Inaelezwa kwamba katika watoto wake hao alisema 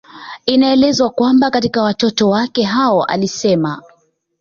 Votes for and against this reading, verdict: 2, 1, accepted